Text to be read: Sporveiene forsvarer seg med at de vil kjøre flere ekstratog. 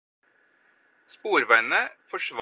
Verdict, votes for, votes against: rejected, 0, 4